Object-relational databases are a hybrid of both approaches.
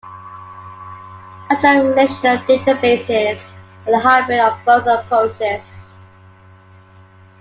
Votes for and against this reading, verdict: 1, 2, rejected